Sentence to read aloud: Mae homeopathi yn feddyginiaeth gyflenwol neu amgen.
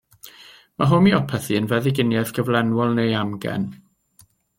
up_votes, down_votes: 2, 0